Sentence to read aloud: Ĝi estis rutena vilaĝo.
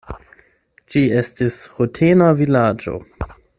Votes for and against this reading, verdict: 8, 0, accepted